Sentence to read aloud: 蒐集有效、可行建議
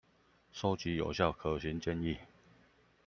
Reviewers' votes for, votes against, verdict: 1, 2, rejected